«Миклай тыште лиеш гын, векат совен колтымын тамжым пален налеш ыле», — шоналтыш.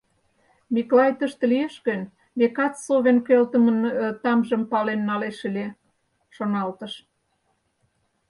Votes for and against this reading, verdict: 2, 4, rejected